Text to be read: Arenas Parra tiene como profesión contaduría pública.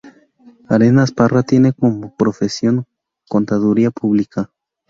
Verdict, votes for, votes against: rejected, 0, 2